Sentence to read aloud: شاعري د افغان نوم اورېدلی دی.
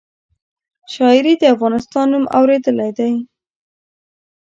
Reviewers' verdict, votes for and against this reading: rejected, 1, 2